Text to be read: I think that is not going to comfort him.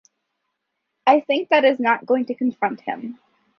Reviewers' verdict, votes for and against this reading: rejected, 0, 2